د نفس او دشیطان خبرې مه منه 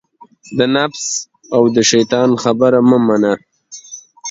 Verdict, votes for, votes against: rejected, 0, 2